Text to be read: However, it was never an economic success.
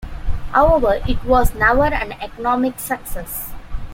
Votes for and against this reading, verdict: 2, 0, accepted